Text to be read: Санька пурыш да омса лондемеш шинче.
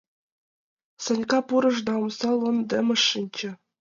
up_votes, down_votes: 1, 2